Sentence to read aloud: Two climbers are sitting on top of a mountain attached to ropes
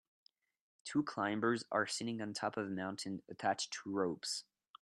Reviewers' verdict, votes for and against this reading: accepted, 2, 0